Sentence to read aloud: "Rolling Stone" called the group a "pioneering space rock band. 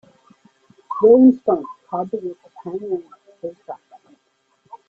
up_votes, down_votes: 1, 2